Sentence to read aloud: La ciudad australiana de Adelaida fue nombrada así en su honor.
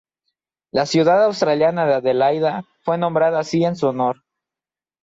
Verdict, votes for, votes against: accepted, 2, 0